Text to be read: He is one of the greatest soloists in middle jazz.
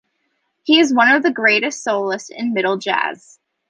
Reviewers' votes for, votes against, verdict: 2, 0, accepted